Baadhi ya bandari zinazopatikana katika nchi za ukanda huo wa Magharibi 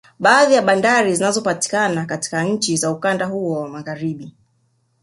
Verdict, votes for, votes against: rejected, 1, 2